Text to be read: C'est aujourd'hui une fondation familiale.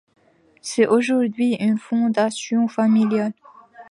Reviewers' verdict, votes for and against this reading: accepted, 2, 0